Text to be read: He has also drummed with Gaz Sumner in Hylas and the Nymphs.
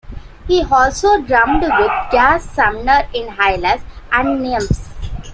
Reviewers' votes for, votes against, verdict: 2, 1, accepted